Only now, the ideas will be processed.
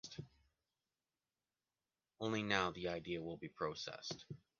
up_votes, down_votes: 0, 2